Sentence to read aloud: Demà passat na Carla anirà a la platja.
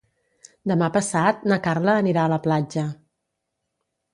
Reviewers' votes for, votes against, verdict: 2, 0, accepted